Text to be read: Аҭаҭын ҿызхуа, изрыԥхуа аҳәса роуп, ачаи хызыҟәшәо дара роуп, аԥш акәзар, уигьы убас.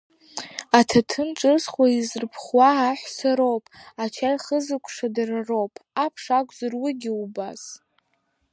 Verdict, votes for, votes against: accepted, 2, 0